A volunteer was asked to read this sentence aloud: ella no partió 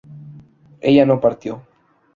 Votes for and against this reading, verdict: 0, 2, rejected